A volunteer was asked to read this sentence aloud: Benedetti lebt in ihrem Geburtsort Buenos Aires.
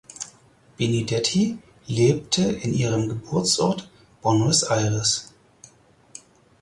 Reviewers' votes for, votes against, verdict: 0, 4, rejected